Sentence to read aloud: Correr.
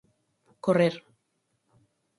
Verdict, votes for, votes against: accepted, 4, 0